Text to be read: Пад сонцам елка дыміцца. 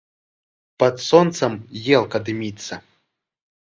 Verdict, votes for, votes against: accepted, 3, 0